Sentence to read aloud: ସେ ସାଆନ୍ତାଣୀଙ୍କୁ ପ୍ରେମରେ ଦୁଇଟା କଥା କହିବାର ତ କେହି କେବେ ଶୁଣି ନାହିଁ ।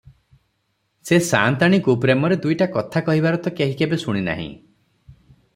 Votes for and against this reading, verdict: 6, 0, accepted